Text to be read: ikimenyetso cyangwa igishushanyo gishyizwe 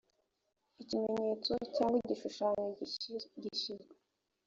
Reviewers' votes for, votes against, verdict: 1, 2, rejected